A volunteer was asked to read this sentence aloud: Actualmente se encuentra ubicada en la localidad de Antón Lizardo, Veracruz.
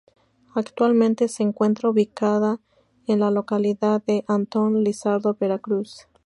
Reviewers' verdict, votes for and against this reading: accepted, 4, 0